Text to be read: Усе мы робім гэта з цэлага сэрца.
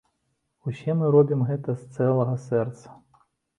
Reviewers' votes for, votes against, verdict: 2, 0, accepted